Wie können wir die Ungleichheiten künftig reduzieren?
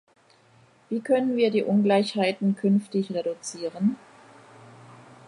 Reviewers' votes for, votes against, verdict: 2, 0, accepted